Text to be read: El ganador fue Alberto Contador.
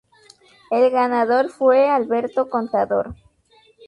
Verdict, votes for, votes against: rejected, 2, 2